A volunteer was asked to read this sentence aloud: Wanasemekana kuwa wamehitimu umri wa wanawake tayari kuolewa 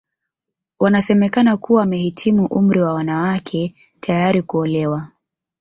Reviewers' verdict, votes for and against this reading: accepted, 2, 1